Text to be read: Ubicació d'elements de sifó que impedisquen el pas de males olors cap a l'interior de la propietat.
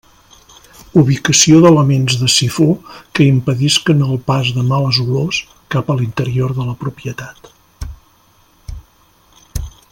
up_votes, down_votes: 2, 0